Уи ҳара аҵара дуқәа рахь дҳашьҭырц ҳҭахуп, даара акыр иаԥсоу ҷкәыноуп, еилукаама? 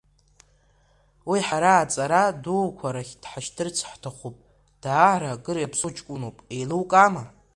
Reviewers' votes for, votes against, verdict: 2, 0, accepted